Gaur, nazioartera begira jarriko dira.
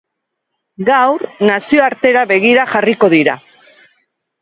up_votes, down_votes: 2, 0